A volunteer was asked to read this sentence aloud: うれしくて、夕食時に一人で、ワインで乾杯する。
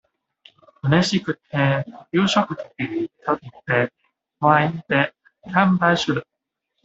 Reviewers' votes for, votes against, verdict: 2, 0, accepted